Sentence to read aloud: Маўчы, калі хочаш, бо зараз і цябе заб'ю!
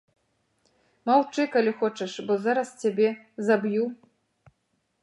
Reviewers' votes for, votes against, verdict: 0, 2, rejected